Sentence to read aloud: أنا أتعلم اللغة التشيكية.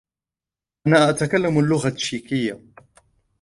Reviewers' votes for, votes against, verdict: 0, 2, rejected